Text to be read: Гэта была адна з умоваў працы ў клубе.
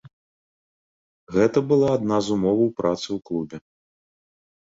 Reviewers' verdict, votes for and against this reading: accepted, 2, 0